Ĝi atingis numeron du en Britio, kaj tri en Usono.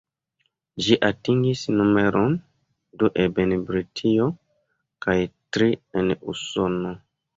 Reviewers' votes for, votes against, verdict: 2, 0, accepted